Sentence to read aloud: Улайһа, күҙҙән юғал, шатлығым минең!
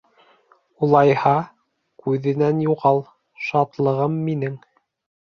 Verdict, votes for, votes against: rejected, 1, 2